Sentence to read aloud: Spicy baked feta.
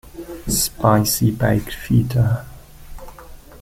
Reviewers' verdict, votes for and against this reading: rejected, 0, 2